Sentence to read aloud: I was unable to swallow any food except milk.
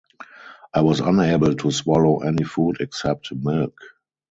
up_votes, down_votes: 2, 0